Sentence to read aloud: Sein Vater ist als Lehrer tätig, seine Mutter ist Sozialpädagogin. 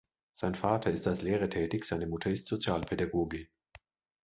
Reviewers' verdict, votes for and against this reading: accepted, 2, 0